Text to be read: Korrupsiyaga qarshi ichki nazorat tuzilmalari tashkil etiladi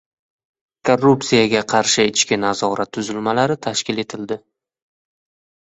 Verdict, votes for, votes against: rejected, 1, 2